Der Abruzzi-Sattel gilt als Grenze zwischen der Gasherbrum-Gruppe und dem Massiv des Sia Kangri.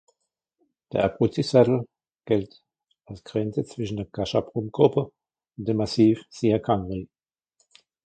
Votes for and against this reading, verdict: 1, 2, rejected